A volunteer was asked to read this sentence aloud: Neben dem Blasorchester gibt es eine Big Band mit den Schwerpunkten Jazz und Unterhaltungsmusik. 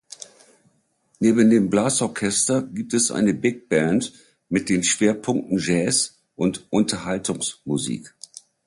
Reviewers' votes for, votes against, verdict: 2, 1, accepted